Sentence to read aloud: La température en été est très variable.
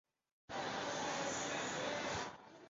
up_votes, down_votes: 0, 2